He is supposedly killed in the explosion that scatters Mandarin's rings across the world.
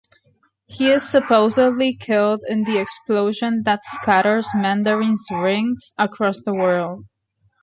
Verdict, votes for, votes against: accepted, 2, 0